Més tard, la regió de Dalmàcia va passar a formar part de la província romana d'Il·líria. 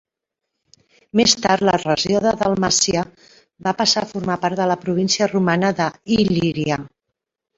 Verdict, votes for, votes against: rejected, 1, 2